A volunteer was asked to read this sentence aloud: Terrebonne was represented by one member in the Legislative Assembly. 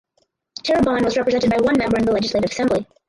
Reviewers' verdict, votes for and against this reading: rejected, 2, 2